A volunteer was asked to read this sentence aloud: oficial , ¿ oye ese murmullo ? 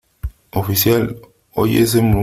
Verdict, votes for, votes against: rejected, 1, 2